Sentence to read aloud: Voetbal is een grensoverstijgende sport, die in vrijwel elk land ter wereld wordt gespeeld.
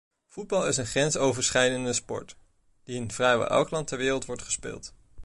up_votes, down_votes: 1, 2